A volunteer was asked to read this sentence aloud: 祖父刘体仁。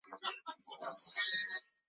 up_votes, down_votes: 0, 2